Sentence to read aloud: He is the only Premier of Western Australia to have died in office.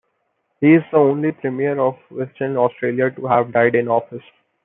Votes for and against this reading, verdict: 2, 0, accepted